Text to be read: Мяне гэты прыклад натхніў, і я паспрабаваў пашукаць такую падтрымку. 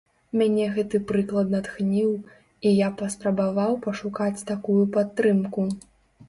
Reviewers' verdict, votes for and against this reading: accepted, 2, 0